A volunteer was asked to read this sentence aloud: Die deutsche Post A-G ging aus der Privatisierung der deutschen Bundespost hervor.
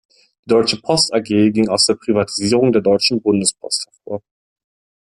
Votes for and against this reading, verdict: 1, 2, rejected